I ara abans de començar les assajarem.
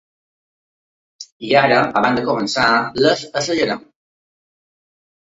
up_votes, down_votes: 2, 0